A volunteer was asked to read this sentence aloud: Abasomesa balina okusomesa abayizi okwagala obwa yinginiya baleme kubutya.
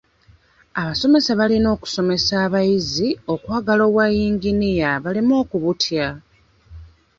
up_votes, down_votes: 1, 2